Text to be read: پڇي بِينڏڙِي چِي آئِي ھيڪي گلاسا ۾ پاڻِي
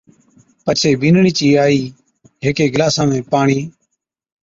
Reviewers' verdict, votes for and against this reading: accepted, 2, 0